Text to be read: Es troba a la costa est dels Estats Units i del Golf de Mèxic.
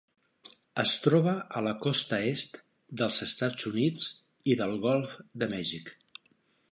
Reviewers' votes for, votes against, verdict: 3, 0, accepted